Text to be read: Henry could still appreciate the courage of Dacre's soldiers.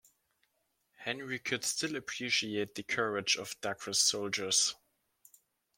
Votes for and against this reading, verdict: 2, 0, accepted